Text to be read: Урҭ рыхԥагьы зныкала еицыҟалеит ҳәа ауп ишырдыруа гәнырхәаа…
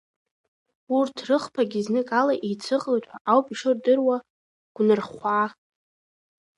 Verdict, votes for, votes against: accepted, 2, 0